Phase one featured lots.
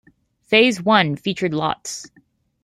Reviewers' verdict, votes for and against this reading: accepted, 2, 0